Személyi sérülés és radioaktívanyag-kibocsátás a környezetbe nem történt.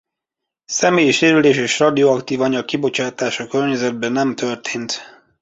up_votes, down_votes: 2, 0